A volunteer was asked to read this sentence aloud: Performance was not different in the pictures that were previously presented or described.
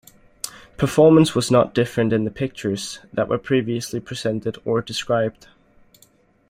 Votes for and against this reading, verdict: 2, 0, accepted